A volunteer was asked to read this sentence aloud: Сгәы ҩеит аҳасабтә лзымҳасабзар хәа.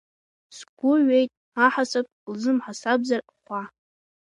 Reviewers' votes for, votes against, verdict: 0, 2, rejected